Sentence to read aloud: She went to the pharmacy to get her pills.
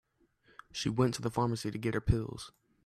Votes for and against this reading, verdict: 2, 0, accepted